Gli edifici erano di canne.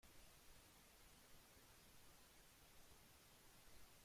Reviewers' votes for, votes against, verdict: 0, 2, rejected